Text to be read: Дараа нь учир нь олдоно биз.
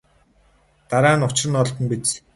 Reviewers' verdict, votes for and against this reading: rejected, 0, 2